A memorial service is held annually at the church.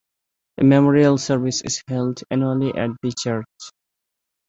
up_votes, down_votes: 2, 0